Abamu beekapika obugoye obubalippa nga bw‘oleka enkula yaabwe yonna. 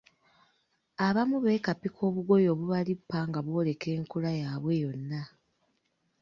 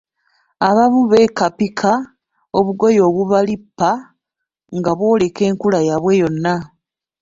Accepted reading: first